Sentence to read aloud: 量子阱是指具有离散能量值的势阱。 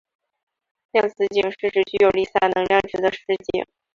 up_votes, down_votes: 0, 2